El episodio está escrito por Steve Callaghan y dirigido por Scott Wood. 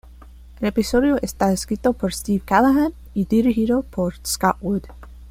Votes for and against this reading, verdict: 2, 0, accepted